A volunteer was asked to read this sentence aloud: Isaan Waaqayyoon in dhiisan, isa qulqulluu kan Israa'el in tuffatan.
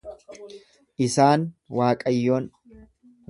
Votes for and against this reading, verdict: 1, 2, rejected